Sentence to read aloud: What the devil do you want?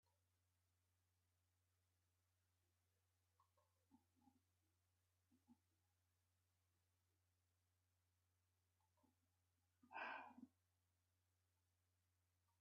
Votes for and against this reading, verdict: 1, 15, rejected